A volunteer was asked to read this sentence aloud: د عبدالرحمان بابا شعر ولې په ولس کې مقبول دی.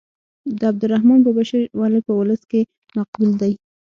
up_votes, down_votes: 6, 0